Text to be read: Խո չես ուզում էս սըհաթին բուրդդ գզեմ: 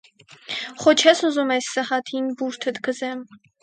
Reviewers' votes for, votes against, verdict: 2, 4, rejected